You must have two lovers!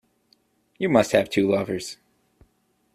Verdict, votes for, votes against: accepted, 2, 0